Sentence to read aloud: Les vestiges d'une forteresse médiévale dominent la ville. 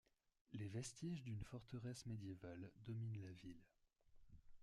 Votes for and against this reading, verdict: 1, 2, rejected